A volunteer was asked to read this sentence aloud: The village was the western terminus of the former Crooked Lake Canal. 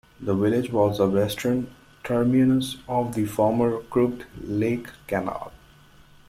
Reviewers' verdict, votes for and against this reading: rejected, 1, 2